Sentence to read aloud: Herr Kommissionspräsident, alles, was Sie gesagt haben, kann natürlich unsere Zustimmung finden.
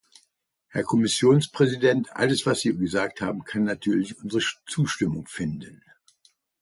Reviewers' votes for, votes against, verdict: 1, 2, rejected